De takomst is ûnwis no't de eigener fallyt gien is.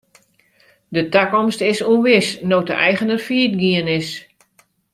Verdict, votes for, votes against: accepted, 2, 0